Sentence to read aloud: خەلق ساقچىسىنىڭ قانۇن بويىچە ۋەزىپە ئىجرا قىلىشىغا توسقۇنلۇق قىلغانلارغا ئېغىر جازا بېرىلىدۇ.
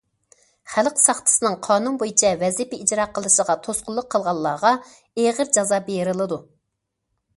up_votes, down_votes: 2, 0